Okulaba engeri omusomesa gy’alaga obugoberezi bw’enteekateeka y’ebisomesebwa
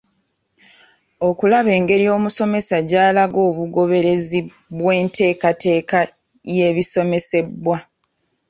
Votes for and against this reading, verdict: 1, 2, rejected